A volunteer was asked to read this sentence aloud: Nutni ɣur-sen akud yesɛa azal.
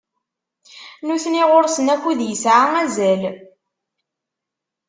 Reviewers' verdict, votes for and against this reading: accepted, 2, 0